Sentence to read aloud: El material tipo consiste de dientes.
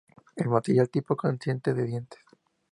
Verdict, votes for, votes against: accepted, 4, 0